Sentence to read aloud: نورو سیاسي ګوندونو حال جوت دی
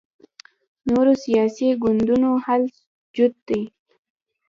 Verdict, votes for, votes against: rejected, 1, 2